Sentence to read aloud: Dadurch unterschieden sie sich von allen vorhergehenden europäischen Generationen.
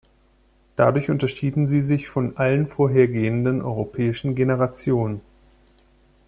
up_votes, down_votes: 2, 0